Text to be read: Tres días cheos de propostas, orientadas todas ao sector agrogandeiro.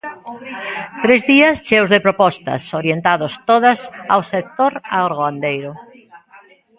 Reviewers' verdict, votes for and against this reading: rejected, 0, 2